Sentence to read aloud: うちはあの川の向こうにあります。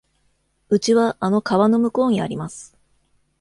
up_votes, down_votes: 2, 0